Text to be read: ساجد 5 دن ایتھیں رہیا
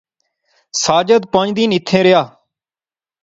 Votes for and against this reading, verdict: 0, 2, rejected